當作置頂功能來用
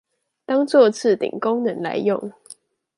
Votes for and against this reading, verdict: 2, 0, accepted